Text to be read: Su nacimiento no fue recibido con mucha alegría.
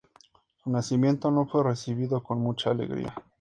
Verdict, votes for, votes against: accepted, 2, 0